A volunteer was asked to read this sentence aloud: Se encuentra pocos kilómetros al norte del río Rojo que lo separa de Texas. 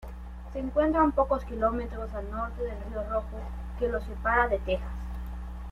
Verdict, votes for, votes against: rejected, 1, 2